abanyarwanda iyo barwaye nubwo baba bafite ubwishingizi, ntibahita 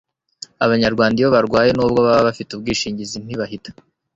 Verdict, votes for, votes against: accepted, 3, 0